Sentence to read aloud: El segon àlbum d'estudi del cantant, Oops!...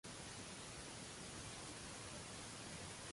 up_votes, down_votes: 0, 2